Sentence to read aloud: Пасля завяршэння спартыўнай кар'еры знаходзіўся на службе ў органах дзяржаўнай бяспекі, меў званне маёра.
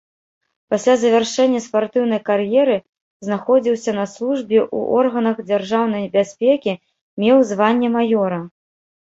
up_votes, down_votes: 1, 2